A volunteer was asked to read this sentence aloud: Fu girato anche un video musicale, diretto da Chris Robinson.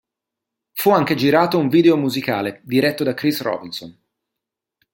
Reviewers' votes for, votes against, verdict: 0, 2, rejected